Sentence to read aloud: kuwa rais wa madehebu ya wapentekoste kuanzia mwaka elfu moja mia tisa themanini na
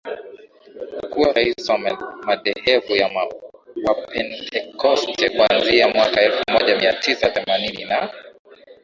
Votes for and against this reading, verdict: 2, 0, accepted